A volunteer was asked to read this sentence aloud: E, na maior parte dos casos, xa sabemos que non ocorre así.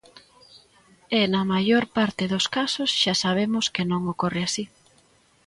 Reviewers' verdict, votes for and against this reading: accepted, 2, 0